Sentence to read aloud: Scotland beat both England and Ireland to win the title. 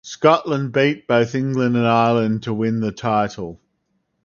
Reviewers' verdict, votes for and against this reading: accepted, 4, 0